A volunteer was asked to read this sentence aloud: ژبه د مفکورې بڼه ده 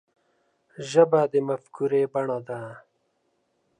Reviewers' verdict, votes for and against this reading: accepted, 2, 0